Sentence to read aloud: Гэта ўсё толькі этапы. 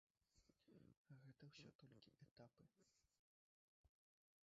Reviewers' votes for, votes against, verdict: 1, 2, rejected